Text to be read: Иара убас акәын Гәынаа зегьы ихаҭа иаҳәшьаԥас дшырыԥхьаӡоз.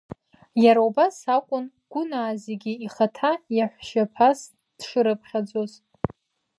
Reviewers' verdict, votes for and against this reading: accepted, 2, 0